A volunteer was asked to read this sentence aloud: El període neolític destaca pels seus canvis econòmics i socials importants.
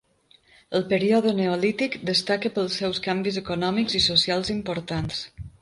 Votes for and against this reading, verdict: 3, 0, accepted